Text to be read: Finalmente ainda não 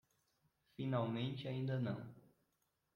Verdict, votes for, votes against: rejected, 1, 2